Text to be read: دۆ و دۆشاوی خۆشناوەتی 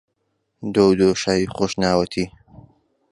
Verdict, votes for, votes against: accepted, 2, 0